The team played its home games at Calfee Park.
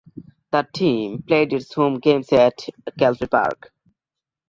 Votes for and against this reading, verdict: 2, 0, accepted